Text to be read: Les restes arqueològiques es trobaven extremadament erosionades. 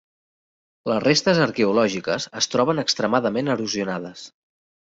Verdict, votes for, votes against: rejected, 0, 2